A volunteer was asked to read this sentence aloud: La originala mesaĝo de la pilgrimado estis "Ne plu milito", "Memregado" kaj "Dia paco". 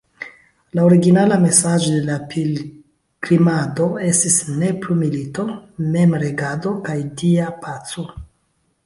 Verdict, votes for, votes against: rejected, 1, 2